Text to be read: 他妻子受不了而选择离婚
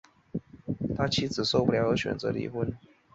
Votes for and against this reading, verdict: 3, 0, accepted